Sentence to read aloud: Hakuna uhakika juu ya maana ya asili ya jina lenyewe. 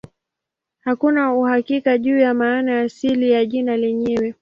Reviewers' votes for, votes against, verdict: 23, 2, accepted